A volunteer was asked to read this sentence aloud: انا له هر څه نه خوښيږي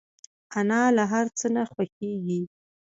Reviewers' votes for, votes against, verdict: 2, 0, accepted